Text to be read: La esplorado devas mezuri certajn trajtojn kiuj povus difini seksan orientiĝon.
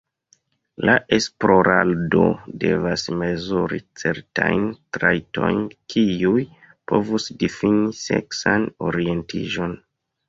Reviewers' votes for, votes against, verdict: 1, 2, rejected